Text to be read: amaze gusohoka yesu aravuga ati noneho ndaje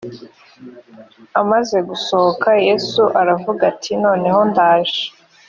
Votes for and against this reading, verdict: 2, 0, accepted